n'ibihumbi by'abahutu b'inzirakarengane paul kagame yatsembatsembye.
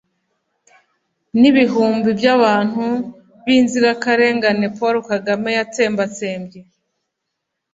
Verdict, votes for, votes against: rejected, 1, 2